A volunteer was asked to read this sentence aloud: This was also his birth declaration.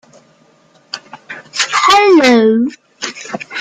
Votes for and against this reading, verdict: 0, 2, rejected